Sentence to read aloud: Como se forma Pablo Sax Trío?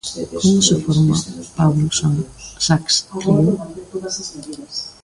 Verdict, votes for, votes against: rejected, 0, 2